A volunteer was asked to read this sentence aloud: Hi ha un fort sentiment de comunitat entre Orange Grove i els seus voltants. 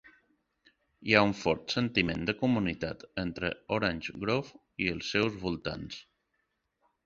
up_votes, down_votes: 2, 0